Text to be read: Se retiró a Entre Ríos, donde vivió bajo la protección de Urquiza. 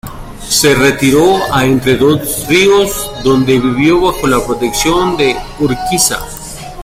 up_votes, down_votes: 0, 3